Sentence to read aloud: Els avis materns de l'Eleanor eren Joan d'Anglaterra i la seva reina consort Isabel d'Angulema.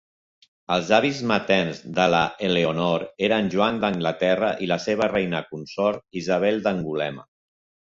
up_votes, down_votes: 1, 2